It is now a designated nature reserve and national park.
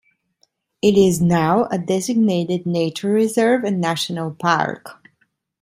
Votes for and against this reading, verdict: 2, 0, accepted